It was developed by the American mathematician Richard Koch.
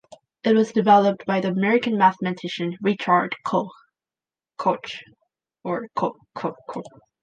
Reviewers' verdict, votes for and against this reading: rejected, 0, 2